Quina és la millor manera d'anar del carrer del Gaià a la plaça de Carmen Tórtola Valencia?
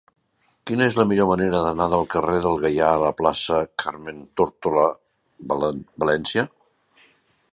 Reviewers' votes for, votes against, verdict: 0, 2, rejected